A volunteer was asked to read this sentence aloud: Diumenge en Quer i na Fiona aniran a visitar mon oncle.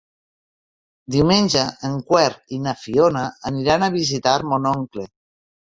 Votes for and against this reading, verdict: 0, 2, rejected